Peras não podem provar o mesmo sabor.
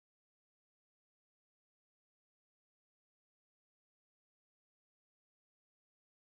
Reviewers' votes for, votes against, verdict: 0, 2, rejected